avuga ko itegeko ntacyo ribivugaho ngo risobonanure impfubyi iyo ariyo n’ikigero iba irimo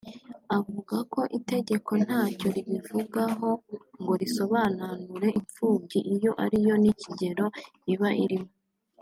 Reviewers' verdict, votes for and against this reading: accepted, 2, 0